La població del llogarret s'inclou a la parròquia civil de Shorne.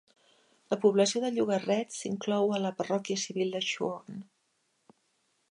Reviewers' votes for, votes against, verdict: 2, 0, accepted